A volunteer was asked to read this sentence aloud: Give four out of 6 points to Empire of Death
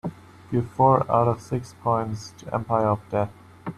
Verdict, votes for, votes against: rejected, 0, 2